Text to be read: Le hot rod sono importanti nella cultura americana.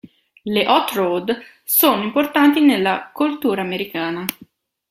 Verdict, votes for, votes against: accepted, 2, 0